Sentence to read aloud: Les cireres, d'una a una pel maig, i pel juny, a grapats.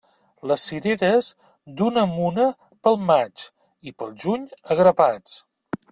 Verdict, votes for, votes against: rejected, 1, 2